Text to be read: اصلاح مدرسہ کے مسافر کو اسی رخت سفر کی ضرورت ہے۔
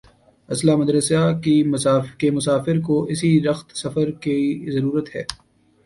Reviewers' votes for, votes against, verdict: 0, 2, rejected